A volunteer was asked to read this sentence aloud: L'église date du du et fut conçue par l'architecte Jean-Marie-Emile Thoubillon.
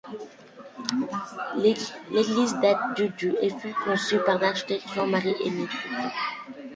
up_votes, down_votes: 1, 2